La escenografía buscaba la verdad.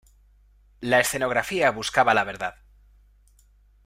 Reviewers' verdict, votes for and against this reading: accepted, 2, 0